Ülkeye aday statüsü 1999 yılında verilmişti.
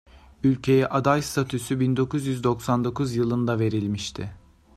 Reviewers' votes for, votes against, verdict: 0, 2, rejected